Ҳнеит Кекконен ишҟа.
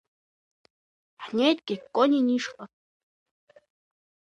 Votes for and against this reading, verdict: 2, 1, accepted